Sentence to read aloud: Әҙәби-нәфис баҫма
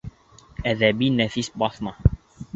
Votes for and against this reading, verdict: 3, 0, accepted